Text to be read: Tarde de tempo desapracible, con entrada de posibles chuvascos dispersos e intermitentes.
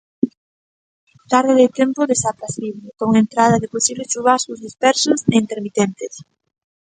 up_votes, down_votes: 2, 0